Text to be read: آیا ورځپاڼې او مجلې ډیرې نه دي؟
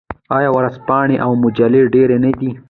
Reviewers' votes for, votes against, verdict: 2, 0, accepted